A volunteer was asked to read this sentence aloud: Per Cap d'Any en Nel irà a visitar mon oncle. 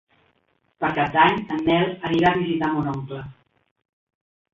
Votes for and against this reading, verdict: 0, 2, rejected